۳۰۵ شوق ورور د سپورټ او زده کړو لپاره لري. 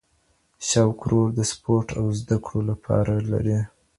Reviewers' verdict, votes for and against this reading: rejected, 0, 2